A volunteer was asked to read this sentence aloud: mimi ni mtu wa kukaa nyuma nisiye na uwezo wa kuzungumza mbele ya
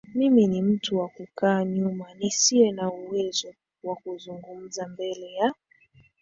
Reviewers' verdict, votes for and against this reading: accepted, 2, 1